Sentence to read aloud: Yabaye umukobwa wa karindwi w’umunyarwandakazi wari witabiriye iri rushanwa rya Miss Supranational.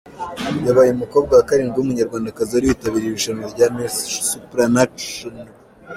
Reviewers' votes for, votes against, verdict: 1, 2, rejected